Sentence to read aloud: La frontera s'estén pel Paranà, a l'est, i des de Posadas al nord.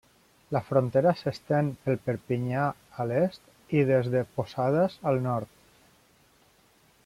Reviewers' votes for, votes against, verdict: 0, 2, rejected